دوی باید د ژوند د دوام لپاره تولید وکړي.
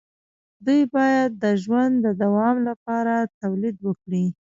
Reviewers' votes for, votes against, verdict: 1, 2, rejected